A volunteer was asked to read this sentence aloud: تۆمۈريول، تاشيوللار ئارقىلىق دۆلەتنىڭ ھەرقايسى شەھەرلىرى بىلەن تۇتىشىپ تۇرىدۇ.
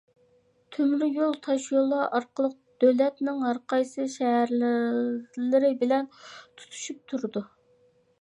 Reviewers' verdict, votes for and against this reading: rejected, 0, 2